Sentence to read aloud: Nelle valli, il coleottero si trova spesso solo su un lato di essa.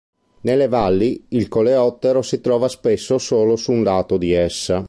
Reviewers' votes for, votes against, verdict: 2, 0, accepted